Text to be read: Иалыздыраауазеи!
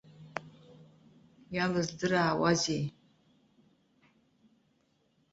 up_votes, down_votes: 2, 0